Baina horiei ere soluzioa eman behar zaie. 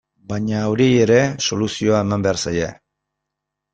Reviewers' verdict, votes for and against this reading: accepted, 2, 0